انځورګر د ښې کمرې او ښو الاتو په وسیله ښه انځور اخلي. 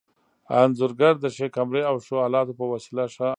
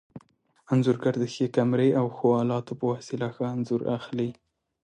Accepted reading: second